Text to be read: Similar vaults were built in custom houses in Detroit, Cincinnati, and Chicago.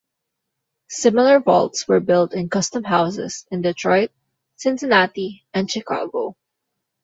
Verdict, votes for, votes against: accepted, 2, 1